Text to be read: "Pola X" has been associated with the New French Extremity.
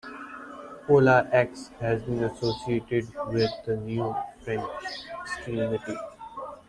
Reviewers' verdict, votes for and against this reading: rejected, 1, 2